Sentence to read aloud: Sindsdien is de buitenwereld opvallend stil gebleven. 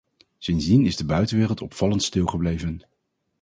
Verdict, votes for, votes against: accepted, 4, 0